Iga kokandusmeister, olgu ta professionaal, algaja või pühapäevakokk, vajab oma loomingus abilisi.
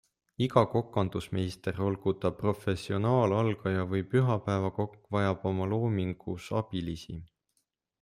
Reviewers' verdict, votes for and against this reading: accepted, 2, 0